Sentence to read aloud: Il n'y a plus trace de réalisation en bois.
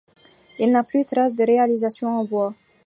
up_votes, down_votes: 1, 2